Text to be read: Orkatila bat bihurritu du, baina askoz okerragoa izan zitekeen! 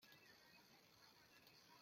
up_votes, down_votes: 0, 2